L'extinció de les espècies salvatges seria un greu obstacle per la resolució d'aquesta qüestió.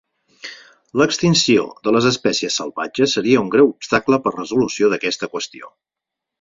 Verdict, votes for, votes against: rejected, 0, 4